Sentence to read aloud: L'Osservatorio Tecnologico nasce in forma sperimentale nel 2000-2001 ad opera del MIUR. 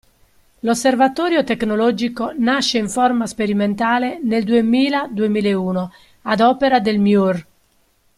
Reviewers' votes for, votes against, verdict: 0, 2, rejected